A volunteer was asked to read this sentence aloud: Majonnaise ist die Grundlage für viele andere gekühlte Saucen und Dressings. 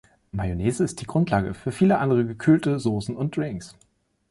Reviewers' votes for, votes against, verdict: 0, 2, rejected